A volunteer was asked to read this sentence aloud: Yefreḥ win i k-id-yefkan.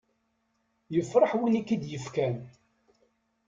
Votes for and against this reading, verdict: 2, 0, accepted